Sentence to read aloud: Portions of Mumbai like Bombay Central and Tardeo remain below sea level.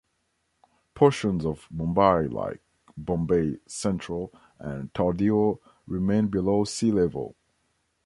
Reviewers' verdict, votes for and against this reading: accepted, 2, 0